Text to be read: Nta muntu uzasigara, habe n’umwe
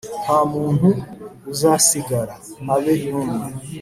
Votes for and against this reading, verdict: 2, 0, accepted